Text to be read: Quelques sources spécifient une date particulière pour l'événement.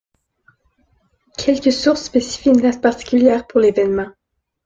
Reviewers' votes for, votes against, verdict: 0, 2, rejected